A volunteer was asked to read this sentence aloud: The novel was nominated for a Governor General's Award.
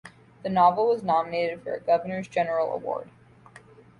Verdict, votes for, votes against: accepted, 2, 0